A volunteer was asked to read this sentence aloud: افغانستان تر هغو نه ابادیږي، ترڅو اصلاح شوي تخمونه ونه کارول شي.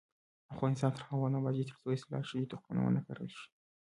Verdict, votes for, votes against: rejected, 0, 2